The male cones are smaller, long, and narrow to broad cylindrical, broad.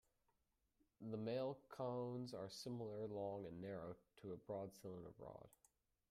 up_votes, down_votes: 0, 2